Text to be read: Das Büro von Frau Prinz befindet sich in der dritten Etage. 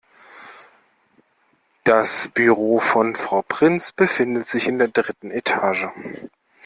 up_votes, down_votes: 2, 1